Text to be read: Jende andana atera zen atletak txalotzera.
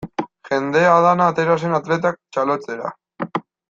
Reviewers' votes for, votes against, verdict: 1, 2, rejected